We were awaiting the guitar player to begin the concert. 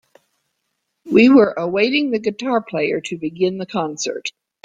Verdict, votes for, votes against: accepted, 2, 0